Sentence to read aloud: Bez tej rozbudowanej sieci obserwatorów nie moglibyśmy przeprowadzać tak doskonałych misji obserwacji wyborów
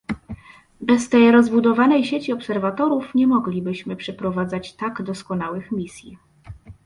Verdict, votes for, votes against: rejected, 0, 2